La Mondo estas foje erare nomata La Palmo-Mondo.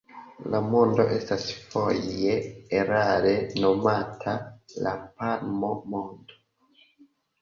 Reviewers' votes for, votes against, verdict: 0, 3, rejected